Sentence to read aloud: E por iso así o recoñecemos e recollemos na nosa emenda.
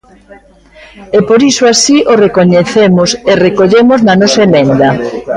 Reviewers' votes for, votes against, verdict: 0, 2, rejected